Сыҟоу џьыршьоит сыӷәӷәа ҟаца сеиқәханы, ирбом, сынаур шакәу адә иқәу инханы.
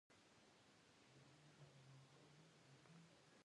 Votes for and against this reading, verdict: 1, 2, rejected